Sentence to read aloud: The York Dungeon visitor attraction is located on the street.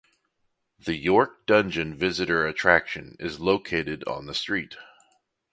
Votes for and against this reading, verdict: 2, 0, accepted